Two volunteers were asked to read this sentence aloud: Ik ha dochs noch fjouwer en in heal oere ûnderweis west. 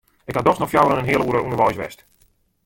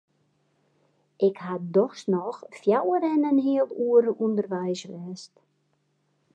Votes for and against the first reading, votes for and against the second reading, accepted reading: 1, 2, 2, 0, second